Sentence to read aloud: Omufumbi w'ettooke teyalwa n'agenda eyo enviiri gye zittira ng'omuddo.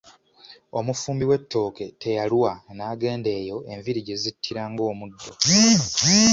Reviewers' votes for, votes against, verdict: 2, 0, accepted